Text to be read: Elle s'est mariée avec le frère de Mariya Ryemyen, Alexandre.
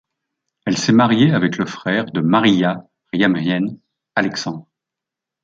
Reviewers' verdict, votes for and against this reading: accepted, 2, 0